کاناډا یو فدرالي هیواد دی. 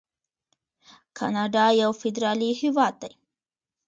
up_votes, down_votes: 2, 0